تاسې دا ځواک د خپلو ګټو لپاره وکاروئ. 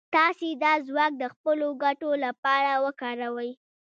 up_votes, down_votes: 1, 2